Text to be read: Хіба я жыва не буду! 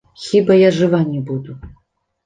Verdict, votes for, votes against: accepted, 2, 0